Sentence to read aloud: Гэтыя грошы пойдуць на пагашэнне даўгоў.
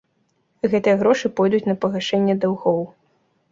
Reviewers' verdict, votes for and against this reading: accepted, 2, 0